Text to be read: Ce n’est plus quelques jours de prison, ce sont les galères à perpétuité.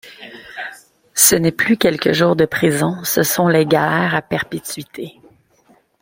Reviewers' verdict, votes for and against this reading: rejected, 1, 3